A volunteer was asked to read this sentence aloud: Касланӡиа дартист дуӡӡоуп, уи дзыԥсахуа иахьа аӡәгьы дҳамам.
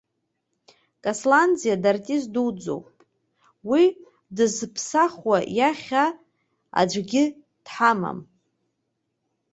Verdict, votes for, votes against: rejected, 0, 2